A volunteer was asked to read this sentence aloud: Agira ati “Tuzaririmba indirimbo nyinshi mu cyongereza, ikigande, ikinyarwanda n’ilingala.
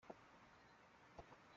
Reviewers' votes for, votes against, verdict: 0, 3, rejected